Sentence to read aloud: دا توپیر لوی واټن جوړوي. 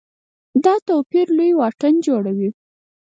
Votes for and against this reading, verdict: 4, 0, accepted